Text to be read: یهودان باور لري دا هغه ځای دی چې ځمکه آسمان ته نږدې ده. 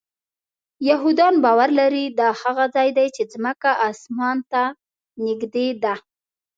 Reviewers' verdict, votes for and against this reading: accepted, 2, 0